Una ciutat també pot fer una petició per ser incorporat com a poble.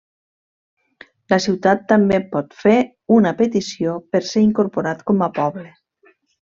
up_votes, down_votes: 0, 2